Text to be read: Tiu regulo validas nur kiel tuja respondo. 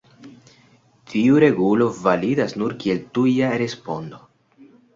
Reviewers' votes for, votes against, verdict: 2, 0, accepted